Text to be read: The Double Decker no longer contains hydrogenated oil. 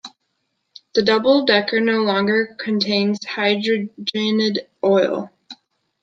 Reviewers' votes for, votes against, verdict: 1, 2, rejected